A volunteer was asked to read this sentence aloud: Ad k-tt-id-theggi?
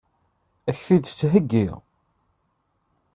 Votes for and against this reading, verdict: 1, 2, rejected